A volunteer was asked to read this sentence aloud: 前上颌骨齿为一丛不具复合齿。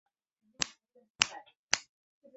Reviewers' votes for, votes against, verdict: 0, 2, rejected